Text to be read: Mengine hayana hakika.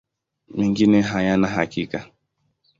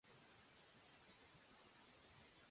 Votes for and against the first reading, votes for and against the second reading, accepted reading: 2, 0, 0, 2, first